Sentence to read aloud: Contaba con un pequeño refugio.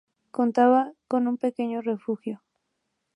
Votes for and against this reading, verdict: 2, 0, accepted